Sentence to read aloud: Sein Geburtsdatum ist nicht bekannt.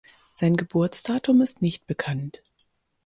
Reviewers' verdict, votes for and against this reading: accepted, 4, 0